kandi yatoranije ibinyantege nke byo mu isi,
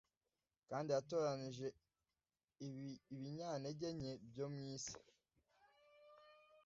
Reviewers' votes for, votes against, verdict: 0, 2, rejected